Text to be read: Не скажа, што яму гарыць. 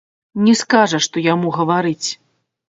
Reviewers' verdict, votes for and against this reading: rejected, 0, 2